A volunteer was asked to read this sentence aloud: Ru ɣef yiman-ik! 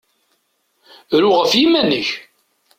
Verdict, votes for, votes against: accepted, 2, 0